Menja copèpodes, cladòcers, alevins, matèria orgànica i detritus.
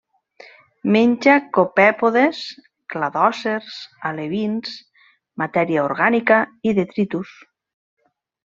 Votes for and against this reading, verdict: 2, 0, accepted